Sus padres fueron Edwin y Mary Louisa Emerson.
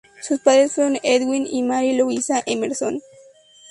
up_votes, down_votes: 0, 4